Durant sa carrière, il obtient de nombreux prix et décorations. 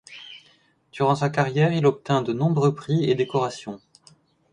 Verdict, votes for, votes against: rejected, 1, 2